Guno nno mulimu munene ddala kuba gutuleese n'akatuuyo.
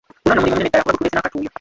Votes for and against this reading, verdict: 0, 2, rejected